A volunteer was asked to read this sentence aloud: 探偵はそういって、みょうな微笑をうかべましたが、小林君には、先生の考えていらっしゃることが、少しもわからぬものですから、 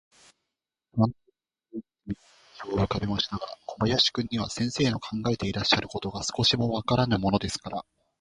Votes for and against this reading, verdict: 0, 2, rejected